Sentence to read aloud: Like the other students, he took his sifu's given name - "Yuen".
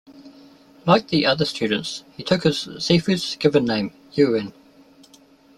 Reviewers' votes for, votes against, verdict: 2, 0, accepted